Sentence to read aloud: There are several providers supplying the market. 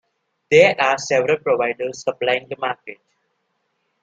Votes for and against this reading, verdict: 2, 0, accepted